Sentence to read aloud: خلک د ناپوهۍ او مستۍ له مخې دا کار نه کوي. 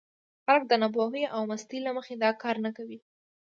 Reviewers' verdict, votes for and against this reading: accepted, 2, 0